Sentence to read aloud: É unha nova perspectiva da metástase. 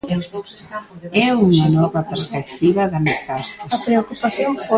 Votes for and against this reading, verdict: 1, 2, rejected